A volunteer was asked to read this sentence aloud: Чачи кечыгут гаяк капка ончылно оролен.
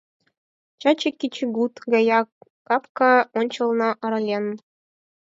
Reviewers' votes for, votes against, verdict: 2, 4, rejected